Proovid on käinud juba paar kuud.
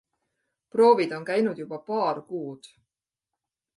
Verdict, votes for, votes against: accepted, 2, 0